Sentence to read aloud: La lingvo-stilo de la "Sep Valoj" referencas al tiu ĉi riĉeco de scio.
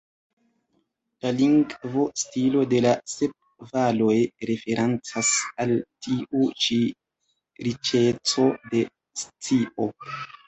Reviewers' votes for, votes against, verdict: 0, 2, rejected